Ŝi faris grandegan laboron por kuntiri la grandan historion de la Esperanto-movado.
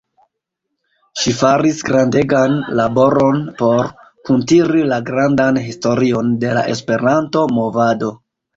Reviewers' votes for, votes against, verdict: 1, 2, rejected